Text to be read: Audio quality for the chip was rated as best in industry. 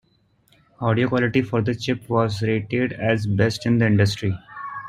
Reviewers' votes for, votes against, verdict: 1, 2, rejected